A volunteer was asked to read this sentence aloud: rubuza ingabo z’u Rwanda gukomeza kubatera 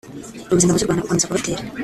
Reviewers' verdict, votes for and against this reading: rejected, 0, 2